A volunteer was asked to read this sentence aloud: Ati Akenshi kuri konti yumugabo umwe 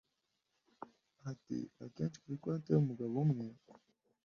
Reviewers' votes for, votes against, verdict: 2, 0, accepted